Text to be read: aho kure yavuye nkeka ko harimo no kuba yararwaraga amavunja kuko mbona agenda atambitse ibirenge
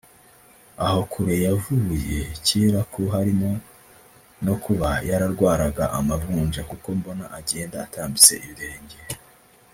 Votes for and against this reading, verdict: 0, 2, rejected